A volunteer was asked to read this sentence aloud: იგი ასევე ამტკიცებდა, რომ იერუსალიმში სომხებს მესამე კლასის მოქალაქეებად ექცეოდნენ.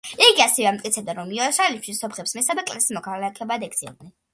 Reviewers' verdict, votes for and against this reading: accepted, 2, 0